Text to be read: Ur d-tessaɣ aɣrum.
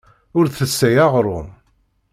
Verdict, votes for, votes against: rejected, 0, 2